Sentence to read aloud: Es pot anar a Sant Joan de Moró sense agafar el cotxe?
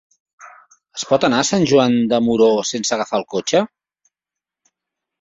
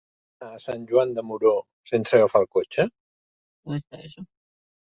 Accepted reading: first